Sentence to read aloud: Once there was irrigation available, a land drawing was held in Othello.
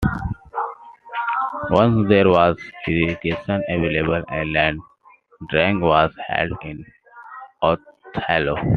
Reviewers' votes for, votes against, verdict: 0, 3, rejected